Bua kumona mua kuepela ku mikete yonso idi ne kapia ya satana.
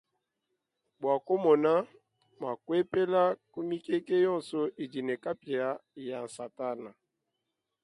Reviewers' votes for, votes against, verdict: 2, 0, accepted